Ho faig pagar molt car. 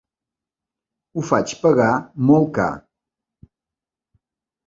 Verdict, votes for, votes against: accepted, 3, 0